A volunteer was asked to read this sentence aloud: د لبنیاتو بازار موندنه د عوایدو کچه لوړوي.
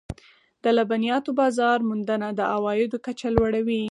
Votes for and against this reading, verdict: 4, 0, accepted